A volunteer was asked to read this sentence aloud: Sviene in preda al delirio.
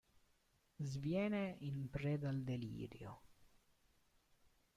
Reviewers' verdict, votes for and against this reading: accepted, 2, 0